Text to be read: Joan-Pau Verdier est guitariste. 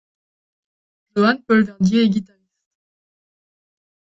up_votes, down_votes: 0, 2